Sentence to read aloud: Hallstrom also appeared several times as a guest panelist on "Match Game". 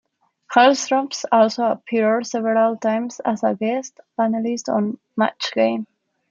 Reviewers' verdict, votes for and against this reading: rejected, 0, 2